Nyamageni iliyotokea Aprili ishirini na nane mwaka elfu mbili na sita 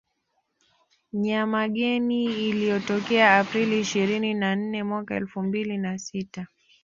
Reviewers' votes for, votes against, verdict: 2, 0, accepted